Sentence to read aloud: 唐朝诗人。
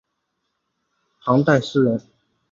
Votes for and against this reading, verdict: 1, 2, rejected